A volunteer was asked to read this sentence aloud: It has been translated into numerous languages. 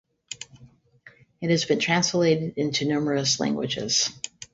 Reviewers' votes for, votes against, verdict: 2, 0, accepted